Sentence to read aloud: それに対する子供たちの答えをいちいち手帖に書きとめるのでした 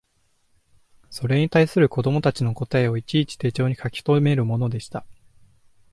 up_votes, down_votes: 1, 2